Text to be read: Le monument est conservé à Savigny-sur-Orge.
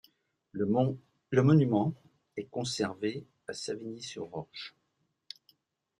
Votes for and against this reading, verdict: 1, 2, rejected